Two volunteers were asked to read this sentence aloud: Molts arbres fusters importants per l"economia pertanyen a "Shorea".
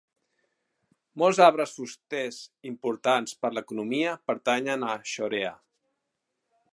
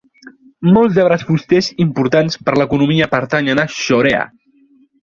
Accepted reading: second